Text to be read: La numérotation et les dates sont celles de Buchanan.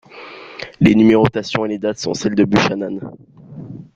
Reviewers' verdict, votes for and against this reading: rejected, 0, 3